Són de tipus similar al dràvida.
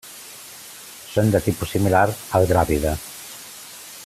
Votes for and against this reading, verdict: 2, 0, accepted